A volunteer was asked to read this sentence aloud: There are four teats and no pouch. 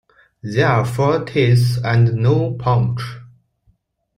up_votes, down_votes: 2, 1